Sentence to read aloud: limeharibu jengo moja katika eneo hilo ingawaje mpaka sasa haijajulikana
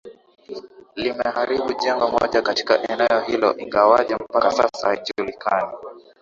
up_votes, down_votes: 0, 2